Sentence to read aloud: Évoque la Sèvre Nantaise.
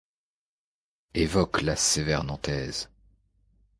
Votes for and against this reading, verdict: 0, 2, rejected